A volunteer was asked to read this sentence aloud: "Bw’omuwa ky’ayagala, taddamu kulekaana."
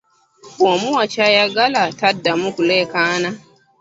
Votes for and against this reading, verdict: 0, 2, rejected